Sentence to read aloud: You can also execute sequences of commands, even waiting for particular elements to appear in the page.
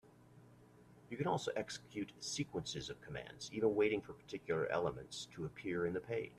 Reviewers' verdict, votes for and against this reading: rejected, 0, 2